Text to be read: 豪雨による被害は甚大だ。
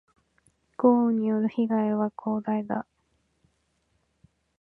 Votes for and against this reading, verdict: 1, 3, rejected